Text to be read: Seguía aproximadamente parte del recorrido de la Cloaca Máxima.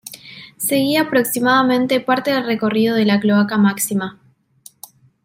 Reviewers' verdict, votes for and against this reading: accepted, 2, 1